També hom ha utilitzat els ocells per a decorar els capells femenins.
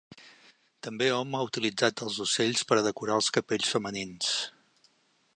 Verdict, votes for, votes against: accepted, 3, 0